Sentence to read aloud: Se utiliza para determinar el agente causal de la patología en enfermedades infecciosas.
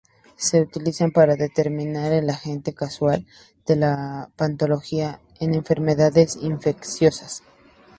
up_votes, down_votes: 0, 2